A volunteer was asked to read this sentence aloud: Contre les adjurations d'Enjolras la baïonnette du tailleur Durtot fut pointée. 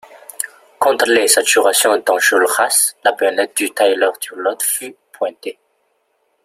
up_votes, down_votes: 1, 2